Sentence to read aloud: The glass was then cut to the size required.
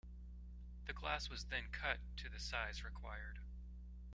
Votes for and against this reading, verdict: 2, 0, accepted